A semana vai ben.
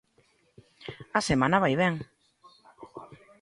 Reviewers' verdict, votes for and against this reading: accepted, 2, 1